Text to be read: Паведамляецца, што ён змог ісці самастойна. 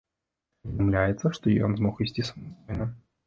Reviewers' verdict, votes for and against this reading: rejected, 0, 2